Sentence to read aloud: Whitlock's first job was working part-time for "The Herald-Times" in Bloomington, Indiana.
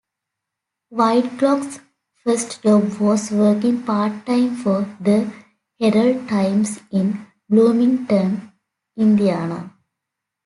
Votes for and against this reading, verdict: 2, 0, accepted